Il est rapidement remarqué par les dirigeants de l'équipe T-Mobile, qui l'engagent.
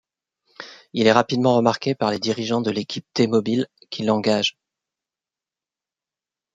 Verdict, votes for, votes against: accepted, 2, 1